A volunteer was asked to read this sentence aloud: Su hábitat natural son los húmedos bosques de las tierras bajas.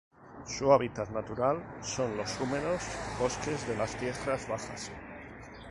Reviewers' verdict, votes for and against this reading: rejected, 0, 2